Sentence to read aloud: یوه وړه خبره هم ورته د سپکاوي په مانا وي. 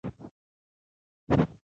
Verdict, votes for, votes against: accepted, 2, 1